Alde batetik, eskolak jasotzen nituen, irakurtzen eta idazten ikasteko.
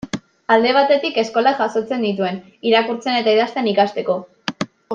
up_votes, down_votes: 2, 0